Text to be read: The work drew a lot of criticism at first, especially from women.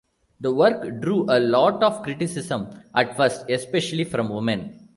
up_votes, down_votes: 2, 0